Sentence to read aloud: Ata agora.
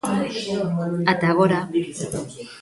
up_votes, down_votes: 2, 1